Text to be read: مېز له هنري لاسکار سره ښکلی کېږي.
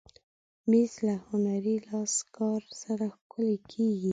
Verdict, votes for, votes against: rejected, 0, 2